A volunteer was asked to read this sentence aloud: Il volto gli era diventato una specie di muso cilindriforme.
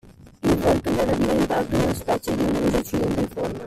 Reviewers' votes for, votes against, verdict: 1, 2, rejected